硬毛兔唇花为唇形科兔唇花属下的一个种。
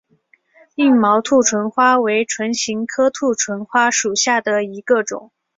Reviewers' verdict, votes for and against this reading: accepted, 6, 1